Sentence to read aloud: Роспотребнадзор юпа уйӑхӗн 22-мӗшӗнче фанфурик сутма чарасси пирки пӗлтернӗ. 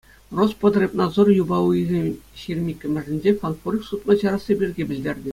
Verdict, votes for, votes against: rejected, 0, 2